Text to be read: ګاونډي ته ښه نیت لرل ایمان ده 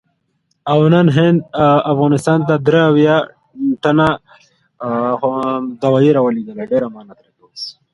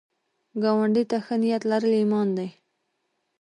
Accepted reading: second